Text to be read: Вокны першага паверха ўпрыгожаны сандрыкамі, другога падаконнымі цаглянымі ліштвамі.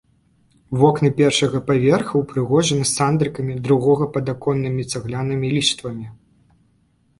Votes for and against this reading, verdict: 2, 0, accepted